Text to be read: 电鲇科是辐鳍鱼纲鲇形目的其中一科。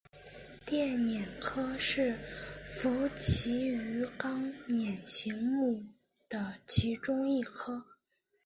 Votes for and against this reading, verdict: 2, 0, accepted